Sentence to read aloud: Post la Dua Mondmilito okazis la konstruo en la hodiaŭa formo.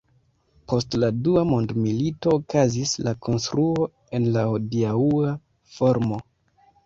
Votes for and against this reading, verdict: 0, 2, rejected